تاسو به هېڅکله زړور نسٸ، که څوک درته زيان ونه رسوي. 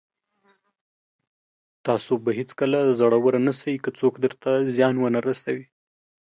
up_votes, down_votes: 2, 0